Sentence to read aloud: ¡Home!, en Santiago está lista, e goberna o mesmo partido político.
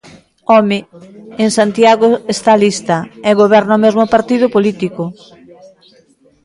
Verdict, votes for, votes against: rejected, 1, 2